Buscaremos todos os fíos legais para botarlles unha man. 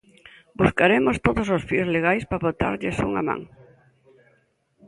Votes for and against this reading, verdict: 2, 1, accepted